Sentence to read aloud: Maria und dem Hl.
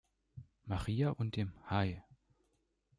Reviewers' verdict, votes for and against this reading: rejected, 0, 2